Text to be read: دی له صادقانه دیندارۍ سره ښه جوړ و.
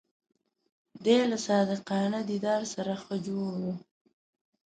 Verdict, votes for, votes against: rejected, 0, 2